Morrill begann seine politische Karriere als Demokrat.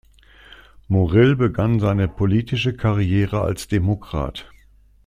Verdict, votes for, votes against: accepted, 2, 0